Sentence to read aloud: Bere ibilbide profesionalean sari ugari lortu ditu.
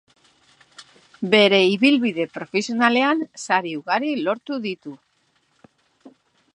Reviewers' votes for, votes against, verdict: 2, 0, accepted